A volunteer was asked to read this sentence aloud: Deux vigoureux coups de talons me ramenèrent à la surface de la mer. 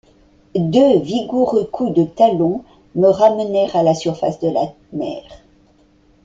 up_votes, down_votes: 2, 0